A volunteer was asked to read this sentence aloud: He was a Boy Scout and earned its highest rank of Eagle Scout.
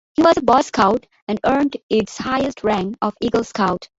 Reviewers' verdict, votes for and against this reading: accepted, 3, 0